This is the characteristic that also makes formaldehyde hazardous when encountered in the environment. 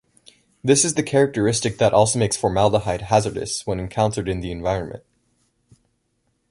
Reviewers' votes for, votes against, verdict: 2, 0, accepted